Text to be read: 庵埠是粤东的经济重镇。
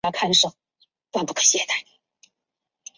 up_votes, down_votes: 0, 2